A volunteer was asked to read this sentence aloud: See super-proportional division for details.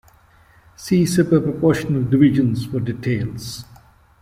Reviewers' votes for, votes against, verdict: 0, 2, rejected